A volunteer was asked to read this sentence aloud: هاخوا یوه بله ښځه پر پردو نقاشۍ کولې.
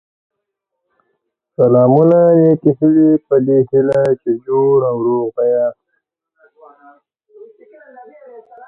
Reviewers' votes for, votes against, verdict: 0, 2, rejected